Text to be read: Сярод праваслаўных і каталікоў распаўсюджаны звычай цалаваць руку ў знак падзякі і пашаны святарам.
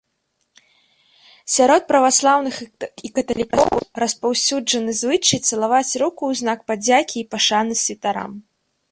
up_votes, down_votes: 0, 2